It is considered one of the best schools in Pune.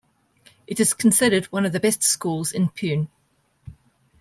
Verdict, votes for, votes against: accepted, 2, 0